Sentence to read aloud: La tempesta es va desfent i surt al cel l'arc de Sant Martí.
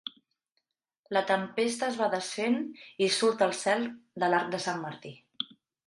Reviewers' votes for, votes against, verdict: 0, 2, rejected